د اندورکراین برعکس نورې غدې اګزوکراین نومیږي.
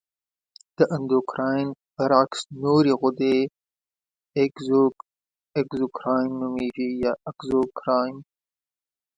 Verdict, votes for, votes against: rejected, 0, 2